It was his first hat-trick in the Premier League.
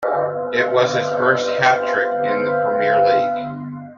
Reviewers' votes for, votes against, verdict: 2, 0, accepted